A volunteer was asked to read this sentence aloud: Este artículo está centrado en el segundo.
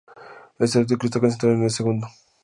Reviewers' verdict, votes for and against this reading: rejected, 0, 4